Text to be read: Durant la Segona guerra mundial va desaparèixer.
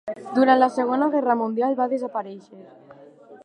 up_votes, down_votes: 2, 0